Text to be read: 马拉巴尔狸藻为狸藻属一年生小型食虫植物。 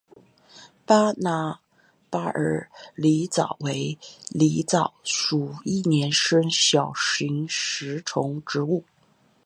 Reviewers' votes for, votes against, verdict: 0, 2, rejected